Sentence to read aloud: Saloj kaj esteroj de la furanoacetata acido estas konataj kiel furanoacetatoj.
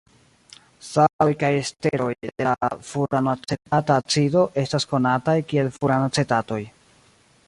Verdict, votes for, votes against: rejected, 0, 2